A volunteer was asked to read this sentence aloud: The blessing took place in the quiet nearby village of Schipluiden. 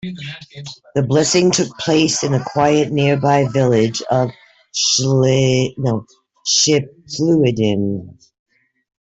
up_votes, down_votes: 0, 2